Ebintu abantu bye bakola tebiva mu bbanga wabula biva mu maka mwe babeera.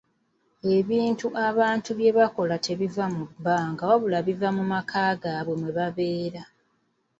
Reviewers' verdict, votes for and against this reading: rejected, 1, 2